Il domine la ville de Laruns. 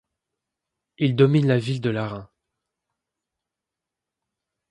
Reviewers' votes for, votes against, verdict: 2, 0, accepted